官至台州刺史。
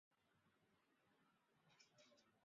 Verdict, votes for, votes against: rejected, 0, 3